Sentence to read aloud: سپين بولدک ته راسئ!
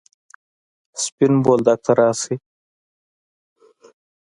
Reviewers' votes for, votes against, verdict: 1, 2, rejected